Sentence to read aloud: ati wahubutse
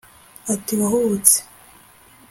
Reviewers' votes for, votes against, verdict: 2, 0, accepted